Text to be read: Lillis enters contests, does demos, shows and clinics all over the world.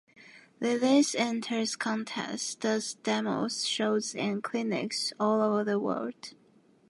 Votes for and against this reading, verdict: 1, 2, rejected